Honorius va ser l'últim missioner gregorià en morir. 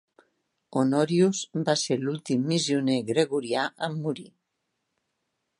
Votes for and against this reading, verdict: 0, 2, rejected